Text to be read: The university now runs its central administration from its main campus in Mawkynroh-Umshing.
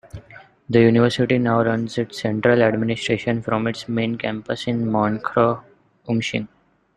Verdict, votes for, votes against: rejected, 0, 2